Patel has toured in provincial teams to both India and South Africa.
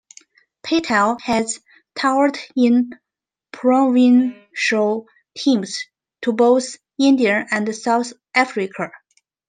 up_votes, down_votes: 2, 0